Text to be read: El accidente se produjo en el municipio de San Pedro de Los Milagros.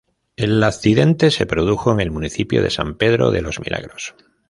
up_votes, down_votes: 2, 0